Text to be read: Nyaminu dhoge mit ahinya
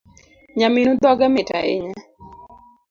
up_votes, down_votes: 2, 0